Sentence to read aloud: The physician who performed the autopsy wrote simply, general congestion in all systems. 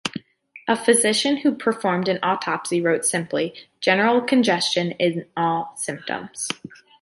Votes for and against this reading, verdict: 1, 2, rejected